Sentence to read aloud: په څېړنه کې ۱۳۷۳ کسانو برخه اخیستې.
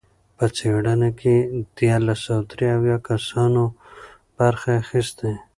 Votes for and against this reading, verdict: 0, 2, rejected